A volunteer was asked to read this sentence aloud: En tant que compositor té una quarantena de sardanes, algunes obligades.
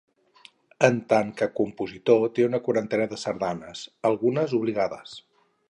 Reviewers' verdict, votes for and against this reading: rejected, 2, 2